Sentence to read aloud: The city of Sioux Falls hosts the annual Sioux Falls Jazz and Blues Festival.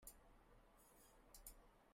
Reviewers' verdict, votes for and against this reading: rejected, 0, 2